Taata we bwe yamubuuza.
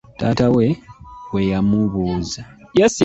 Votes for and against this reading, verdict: 0, 2, rejected